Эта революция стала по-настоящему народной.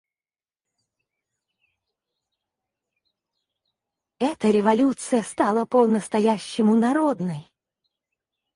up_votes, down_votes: 0, 4